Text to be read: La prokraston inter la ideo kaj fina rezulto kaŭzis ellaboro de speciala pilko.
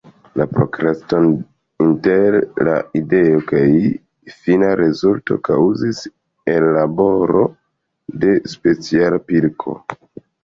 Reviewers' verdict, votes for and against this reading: accepted, 2, 0